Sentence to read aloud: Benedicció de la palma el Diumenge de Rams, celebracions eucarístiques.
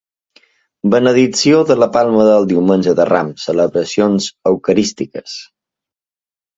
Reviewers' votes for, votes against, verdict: 2, 1, accepted